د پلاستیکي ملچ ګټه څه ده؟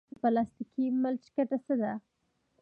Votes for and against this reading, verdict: 1, 2, rejected